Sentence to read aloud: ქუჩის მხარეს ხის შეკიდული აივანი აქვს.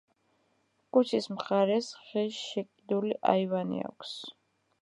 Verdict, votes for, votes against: rejected, 0, 2